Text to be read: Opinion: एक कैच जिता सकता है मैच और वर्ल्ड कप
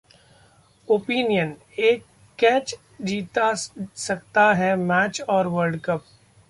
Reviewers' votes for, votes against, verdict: 2, 0, accepted